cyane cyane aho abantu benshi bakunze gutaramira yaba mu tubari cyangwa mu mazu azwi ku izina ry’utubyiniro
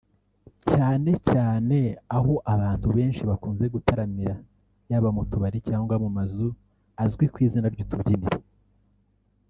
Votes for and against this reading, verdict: 0, 2, rejected